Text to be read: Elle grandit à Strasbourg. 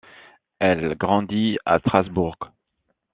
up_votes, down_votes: 1, 2